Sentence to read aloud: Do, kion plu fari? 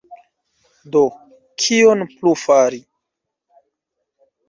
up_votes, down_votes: 1, 2